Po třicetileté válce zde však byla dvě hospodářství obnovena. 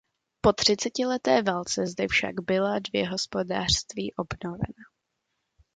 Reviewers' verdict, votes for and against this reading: accepted, 2, 0